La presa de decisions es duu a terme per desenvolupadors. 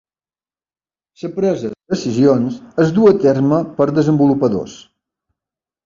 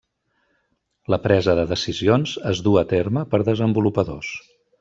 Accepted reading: second